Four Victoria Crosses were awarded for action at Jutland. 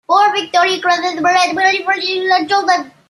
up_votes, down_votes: 0, 2